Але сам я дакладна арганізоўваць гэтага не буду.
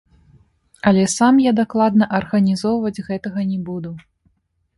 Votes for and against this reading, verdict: 2, 0, accepted